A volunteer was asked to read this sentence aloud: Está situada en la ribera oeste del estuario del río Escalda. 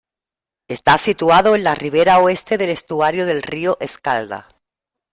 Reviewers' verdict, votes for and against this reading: rejected, 0, 2